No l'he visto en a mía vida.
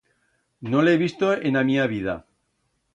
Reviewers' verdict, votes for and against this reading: accepted, 2, 0